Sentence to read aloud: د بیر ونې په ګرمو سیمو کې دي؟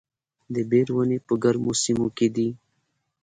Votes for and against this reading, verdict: 3, 0, accepted